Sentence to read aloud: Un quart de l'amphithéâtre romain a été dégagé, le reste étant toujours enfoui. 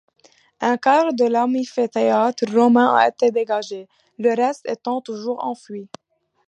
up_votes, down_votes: 1, 2